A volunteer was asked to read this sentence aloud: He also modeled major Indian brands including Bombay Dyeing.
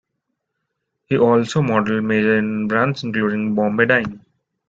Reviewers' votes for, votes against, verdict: 2, 1, accepted